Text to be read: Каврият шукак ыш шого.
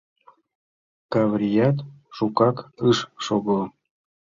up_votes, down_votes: 2, 0